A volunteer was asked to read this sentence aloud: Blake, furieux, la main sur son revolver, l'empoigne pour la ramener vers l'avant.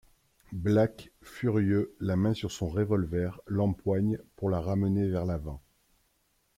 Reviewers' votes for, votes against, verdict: 0, 2, rejected